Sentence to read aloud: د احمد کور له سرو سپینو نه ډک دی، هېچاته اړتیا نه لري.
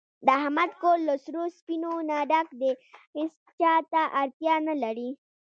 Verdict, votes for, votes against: accepted, 2, 1